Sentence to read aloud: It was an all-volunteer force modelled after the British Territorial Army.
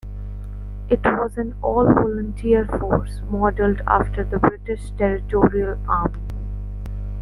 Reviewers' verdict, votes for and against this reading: accepted, 2, 1